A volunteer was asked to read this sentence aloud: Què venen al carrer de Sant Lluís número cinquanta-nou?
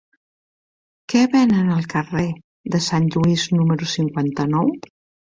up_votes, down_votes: 3, 1